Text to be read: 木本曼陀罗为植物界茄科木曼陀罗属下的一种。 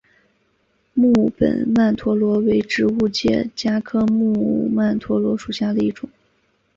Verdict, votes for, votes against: rejected, 0, 2